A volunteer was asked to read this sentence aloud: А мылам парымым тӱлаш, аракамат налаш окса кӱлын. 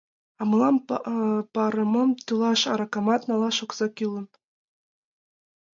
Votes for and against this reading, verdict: 1, 2, rejected